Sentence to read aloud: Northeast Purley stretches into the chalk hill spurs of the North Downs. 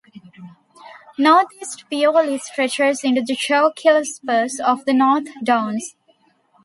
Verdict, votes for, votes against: rejected, 1, 2